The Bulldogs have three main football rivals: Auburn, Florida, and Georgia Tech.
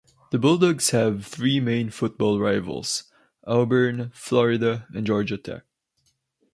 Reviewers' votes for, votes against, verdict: 4, 0, accepted